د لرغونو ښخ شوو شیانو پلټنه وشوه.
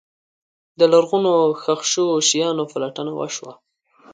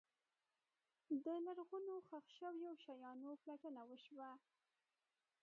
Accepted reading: first